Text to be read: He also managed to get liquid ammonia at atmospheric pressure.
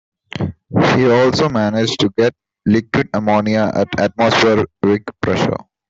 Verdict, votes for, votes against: rejected, 0, 2